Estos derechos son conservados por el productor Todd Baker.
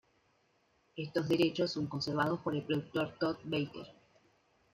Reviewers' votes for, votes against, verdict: 1, 2, rejected